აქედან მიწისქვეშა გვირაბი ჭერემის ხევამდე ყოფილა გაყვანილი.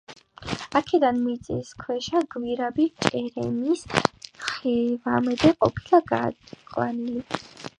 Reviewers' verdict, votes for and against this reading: accepted, 2, 1